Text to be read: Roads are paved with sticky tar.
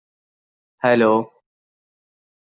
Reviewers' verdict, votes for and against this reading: rejected, 0, 2